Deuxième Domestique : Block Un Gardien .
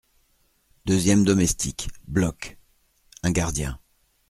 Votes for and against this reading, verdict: 2, 0, accepted